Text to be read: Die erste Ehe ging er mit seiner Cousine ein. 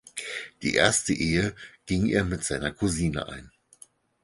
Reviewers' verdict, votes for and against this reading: accepted, 4, 0